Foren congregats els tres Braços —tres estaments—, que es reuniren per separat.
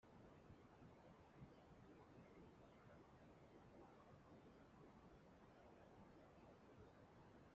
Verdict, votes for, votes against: rejected, 0, 2